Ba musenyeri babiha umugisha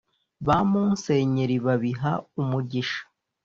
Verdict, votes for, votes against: accepted, 2, 0